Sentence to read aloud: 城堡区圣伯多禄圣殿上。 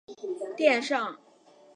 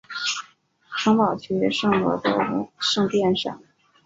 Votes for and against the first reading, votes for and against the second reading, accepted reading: 1, 2, 2, 0, second